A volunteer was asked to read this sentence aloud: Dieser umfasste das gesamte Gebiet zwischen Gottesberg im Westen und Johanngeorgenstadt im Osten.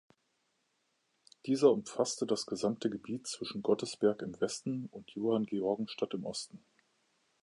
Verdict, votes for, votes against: accepted, 2, 0